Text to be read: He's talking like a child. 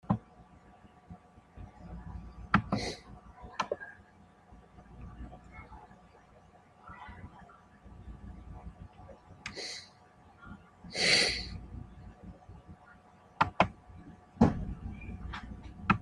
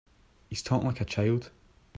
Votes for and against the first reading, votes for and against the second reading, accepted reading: 0, 2, 2, 1, second